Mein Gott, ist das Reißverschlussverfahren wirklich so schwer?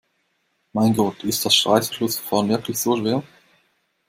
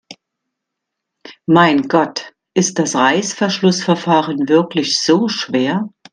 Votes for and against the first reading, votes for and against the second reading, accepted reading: 1, 2, 2, 0, second